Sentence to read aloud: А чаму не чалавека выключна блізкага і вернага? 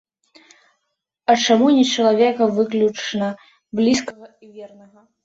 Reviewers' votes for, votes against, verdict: 0, 2, rejected